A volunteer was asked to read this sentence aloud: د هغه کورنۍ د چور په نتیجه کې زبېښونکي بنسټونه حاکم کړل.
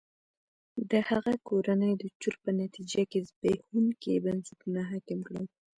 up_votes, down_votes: 0, 2